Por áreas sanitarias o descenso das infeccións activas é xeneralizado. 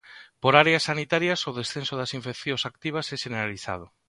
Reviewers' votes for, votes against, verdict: 2, 0, accepted